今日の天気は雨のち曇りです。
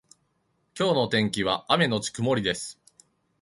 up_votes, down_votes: 2, 1